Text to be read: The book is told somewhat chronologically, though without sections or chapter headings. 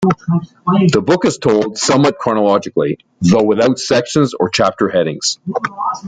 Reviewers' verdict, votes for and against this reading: rejected, 0, 2